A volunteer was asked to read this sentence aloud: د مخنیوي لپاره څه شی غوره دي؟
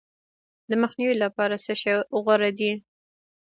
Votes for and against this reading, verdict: 1, 2, rejected